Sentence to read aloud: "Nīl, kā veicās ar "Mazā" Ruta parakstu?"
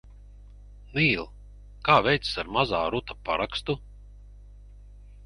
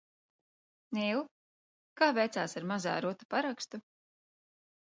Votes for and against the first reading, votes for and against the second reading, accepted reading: 0, 4, 2, 0, second